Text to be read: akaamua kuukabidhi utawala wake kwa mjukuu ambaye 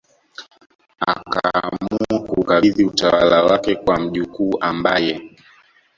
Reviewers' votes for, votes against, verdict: 1, 2, rejected